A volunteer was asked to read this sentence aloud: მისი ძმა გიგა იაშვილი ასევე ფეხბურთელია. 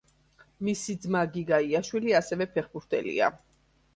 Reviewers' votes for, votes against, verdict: 3, 0, accepted